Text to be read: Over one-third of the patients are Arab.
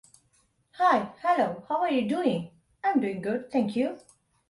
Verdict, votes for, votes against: rejected, 0, 2